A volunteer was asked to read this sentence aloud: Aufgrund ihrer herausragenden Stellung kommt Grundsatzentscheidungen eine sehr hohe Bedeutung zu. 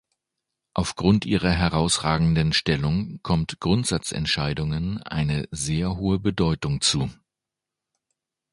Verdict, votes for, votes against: accepted, 2, 0